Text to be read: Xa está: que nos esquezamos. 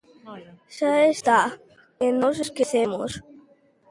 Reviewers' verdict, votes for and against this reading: rejected, 0, 2